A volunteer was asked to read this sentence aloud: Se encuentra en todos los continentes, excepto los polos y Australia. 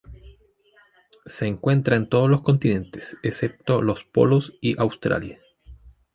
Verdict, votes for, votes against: accepted, 2, 0